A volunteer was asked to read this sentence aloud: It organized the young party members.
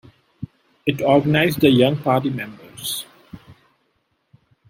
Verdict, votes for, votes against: accepted, 2, 0